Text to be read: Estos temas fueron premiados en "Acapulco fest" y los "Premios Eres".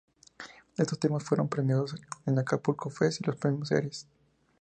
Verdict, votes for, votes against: accepted, 2, 0